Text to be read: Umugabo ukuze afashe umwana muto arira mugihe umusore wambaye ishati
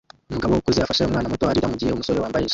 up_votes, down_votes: 1, 2